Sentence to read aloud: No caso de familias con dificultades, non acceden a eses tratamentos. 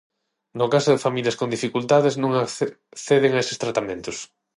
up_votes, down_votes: 0, 6